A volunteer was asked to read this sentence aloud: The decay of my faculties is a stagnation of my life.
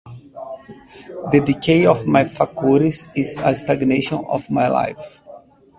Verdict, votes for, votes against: rejected, 0, 2